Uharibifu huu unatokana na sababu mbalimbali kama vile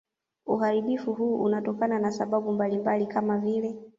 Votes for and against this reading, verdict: 2, 1, accepted